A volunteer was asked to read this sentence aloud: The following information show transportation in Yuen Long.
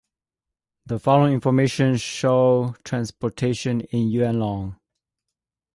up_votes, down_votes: 2, 0